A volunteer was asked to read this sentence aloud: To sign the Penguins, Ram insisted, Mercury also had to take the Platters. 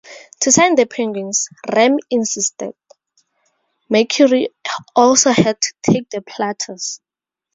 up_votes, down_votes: 2, 0